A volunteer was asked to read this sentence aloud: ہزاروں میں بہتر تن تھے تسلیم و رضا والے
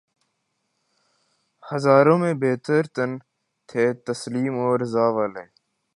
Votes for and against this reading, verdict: 2, 0, accepted